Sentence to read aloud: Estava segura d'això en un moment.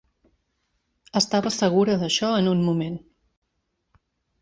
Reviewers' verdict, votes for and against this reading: accepted, 2, 0